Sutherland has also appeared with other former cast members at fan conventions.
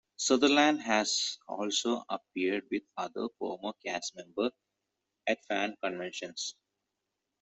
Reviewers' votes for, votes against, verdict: 1, 2, rejected